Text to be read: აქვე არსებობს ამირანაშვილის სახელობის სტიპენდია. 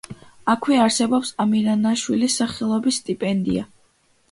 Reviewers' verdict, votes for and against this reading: accepted, 2, 0